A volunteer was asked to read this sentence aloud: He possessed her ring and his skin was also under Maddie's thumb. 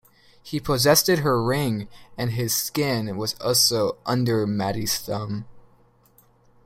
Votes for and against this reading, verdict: 1, 2, rejected